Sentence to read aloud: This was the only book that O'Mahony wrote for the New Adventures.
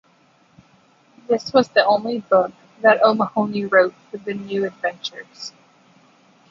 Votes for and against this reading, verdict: 1, 2, rejected